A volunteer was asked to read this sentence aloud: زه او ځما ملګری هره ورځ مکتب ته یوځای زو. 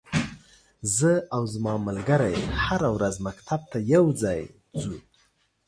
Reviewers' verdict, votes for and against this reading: rejected, 1, 2